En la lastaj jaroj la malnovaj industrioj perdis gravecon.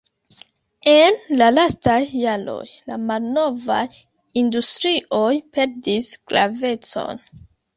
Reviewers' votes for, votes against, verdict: 1, 2, rejected